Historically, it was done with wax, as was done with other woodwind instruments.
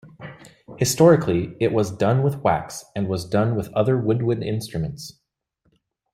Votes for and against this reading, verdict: 1, 2, rejected